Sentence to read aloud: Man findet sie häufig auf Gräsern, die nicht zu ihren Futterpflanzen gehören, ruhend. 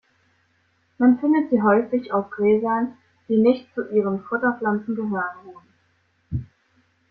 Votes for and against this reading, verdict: 1, 2, rejected